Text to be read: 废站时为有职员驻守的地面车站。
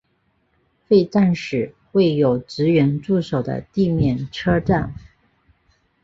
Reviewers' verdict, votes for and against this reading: accepted, 2, 0